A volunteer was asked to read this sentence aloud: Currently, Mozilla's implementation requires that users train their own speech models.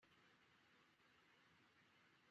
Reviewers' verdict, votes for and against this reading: rejected, 0, 3